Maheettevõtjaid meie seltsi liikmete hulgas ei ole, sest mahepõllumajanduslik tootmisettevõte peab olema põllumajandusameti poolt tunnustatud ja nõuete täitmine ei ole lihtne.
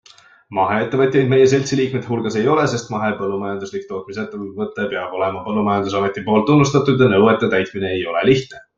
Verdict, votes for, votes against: accepted, 2, 1